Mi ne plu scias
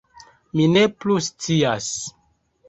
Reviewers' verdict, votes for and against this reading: accepted, 2, 1